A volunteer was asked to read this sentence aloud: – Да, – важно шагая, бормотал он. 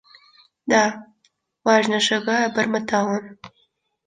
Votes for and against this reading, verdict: 2, 0, accepted